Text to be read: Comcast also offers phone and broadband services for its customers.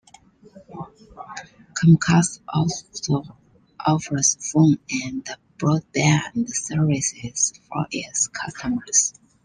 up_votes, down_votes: 2, 0